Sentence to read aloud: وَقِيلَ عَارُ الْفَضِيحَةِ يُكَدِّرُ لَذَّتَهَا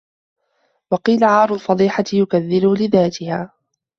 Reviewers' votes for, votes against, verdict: 0, 2, rejected